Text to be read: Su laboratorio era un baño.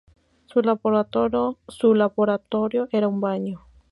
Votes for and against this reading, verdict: 0, 2, rejected